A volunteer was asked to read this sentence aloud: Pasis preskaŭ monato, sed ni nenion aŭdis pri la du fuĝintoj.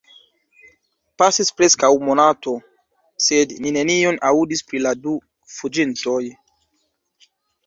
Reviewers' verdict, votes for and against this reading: accepted, 2, 0